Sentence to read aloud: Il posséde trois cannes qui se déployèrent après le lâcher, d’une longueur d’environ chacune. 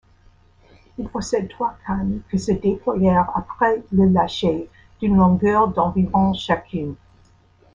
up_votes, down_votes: 0, 2